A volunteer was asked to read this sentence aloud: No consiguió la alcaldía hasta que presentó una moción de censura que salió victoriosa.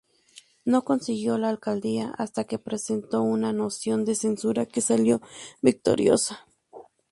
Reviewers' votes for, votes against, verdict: 0, 2, rejected